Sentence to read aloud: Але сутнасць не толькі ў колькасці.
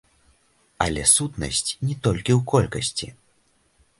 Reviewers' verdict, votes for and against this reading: accepted, 2, 0